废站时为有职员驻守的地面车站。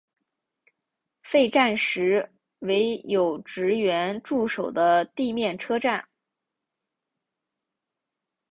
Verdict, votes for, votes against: accepted, 5, 0